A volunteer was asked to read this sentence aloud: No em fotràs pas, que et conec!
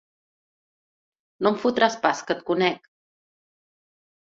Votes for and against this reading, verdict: 5, 0, accepted